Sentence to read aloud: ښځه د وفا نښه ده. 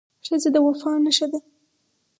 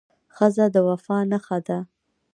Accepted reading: first